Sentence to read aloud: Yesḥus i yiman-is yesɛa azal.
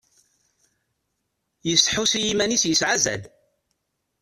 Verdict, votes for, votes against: rejected, 1, 2